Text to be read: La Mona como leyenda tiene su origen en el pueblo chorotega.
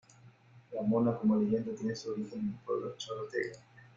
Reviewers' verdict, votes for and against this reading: rejected, 1, 2